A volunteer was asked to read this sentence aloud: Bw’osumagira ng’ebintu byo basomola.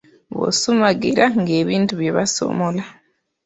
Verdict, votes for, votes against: rejected, 1, 2